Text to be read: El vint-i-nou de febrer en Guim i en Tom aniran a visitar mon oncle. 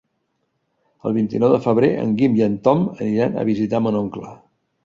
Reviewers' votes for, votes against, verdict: 3, 0, accepted